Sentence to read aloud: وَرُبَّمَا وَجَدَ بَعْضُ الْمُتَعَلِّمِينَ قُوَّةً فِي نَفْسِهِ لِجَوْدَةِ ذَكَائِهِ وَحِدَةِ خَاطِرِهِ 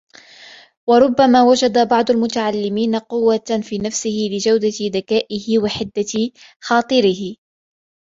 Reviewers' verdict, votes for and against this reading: accepted, 3, 0